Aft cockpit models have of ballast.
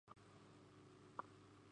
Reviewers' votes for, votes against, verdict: 0, 2, rejected